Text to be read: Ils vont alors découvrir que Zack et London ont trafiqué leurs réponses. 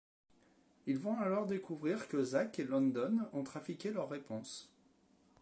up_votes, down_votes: 2, 0